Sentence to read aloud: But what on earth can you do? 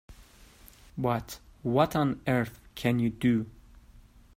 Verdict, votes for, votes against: accepted, 2, 0